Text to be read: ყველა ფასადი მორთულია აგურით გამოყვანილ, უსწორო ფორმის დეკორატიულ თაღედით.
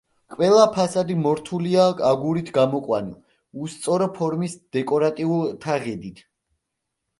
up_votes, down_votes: 2, 0